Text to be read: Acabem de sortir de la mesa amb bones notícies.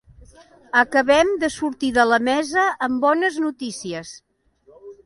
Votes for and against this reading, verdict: 2, 0, accepted